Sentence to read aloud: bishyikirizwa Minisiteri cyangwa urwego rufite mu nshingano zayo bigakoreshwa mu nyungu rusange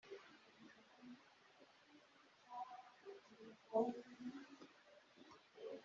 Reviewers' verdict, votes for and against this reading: rejected, 0, 4